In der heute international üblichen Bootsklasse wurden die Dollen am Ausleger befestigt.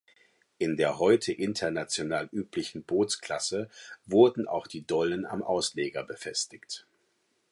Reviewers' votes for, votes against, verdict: 0, 4, rejected